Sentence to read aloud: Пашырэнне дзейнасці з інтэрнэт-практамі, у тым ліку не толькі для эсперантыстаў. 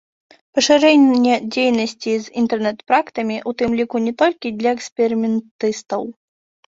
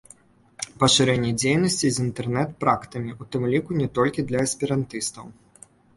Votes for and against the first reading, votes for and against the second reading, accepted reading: 0, 2, 2, 0, second